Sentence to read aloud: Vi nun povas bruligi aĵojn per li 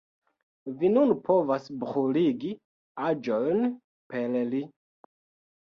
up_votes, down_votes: 1, 2